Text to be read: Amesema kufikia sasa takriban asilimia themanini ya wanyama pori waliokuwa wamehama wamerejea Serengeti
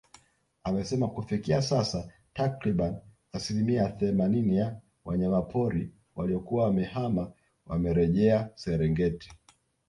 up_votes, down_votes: 2, 3